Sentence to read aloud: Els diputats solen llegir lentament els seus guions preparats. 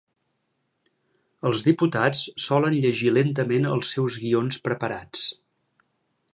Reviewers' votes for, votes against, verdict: 2, 0, accepted